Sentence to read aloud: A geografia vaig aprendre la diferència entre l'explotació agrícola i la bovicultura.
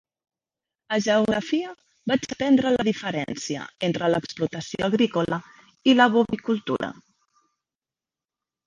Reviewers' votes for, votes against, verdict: 0, 2, rejected